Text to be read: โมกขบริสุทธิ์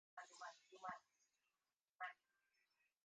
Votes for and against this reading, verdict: 0, 2, rejected